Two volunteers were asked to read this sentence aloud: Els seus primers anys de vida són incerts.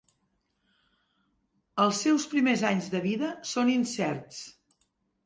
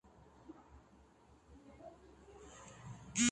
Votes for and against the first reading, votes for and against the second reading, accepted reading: 3, 0, 0, 3, first